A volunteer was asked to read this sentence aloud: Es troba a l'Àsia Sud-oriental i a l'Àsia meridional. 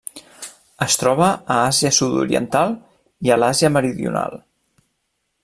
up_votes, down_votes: 1, 2